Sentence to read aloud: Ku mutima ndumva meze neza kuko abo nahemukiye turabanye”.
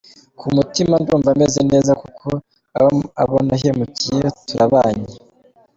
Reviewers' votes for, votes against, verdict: 1, 2, rejected